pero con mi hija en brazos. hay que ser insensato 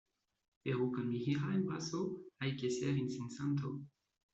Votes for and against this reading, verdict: 2, 1, accepted